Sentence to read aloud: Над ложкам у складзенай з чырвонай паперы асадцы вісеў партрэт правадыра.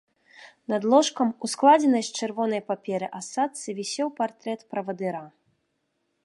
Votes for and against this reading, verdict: 3, 0, accepted